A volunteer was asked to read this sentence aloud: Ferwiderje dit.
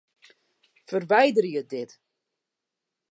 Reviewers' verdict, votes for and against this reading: rejected, 0, 2